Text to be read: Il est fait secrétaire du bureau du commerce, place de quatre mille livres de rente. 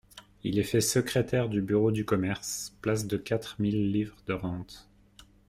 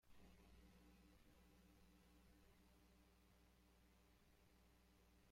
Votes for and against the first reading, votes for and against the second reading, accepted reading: 2, 0, 0, 2, first